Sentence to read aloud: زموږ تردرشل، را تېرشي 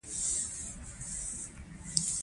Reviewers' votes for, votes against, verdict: 0, 2, rejected